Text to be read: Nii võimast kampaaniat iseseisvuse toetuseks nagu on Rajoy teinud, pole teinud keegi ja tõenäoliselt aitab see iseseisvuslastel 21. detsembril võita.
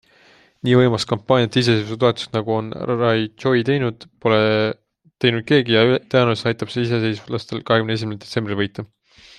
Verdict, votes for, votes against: rejected, 0, 2